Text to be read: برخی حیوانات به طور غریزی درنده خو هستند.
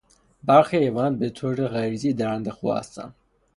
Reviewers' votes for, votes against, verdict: 6, 0, accepted